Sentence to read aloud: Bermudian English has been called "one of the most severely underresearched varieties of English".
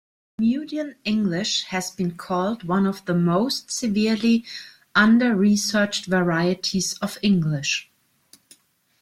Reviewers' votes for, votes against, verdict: 0, 2, rejected